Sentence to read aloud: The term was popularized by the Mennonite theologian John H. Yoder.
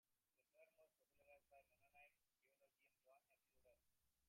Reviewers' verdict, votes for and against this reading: rejected, 0, 2